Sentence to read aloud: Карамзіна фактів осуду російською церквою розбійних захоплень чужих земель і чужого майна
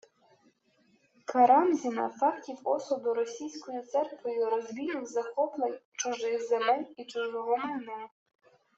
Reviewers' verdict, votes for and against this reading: rejected, 0, 2